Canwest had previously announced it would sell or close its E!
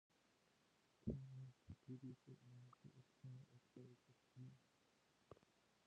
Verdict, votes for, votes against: rejected, 0, 2